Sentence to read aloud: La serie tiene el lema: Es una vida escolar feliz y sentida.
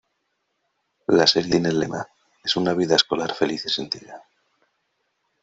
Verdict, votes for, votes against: rejected, 0, 2